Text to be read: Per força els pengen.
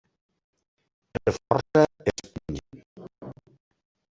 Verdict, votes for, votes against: rejected, 0, 2